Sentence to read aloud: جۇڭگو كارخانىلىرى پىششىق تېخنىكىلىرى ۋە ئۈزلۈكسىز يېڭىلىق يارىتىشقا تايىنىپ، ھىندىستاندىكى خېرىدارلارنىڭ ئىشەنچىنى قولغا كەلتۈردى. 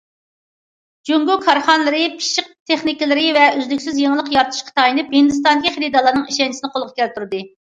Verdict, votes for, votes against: rejected, 1, 2